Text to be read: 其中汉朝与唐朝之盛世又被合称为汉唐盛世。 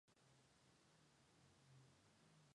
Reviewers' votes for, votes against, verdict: 2, 0, accepted